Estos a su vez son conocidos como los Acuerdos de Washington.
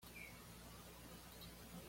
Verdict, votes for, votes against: rejected, 1, 2